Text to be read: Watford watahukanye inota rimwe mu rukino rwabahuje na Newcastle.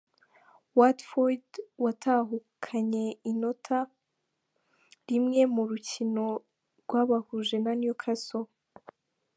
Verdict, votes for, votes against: accepted, 2, 0